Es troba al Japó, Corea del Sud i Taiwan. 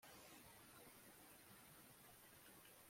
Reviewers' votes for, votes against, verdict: 0, 2, rejected